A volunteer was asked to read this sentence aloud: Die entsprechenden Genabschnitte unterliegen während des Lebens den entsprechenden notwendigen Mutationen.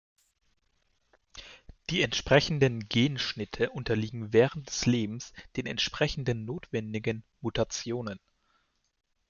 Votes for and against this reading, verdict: 0, 2, rejected